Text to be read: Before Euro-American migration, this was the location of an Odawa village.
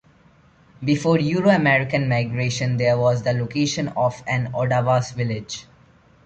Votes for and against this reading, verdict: 1, 2, rejected